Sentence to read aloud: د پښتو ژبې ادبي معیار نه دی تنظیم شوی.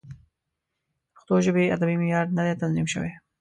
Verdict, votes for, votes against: accepted, 2, 0